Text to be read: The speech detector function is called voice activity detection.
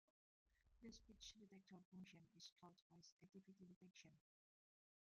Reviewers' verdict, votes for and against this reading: rejected, 0, 2